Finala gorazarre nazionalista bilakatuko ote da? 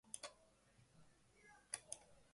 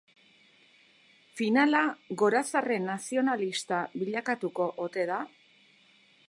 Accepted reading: second